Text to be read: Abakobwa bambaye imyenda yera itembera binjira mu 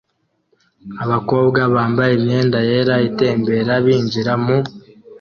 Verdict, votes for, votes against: accepted, 2, 0